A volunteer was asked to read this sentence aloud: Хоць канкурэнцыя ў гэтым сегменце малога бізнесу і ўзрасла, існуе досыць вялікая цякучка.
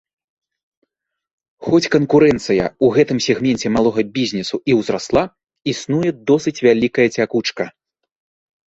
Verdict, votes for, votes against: rejected, 1, 2